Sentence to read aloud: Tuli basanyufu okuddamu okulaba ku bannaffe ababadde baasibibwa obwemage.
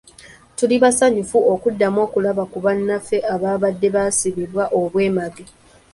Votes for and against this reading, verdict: 2, 0, accepted